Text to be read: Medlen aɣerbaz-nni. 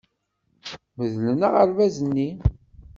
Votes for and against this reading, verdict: 2, 0, accepted